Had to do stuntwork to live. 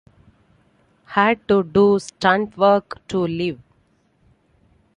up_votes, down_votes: 2, 0